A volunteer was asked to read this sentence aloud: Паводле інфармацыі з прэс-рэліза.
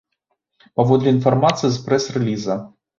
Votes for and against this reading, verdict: 2, 0, accepted